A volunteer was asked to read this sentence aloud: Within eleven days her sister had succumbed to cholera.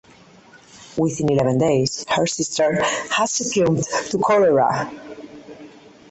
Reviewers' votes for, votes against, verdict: 4, 0, accepted